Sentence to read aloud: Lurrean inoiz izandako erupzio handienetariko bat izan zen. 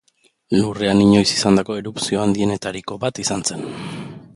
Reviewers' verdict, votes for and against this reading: accepted, 2, 1